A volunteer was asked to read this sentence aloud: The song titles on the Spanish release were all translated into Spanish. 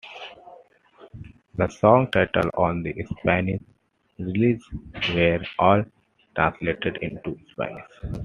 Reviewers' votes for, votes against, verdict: 2, 0, accepted